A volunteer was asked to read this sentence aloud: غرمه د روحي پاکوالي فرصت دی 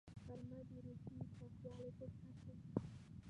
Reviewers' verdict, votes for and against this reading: rejected, 1, 2